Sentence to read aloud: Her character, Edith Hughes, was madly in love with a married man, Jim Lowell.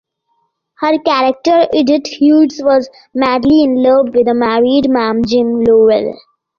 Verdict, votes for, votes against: accepted, 2, 0